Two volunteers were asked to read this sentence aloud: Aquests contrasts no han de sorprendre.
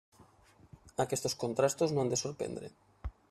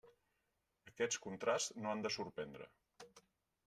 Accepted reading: second